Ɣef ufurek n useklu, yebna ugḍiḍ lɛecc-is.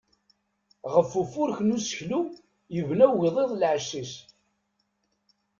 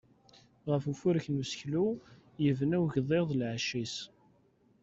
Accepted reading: first